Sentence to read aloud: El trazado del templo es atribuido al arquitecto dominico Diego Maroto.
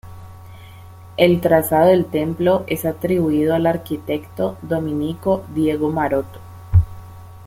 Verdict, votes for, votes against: accepted, 2, 0